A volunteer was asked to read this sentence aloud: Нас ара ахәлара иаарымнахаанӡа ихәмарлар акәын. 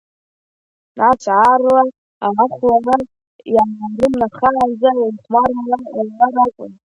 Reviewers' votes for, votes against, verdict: 1, 2, rejected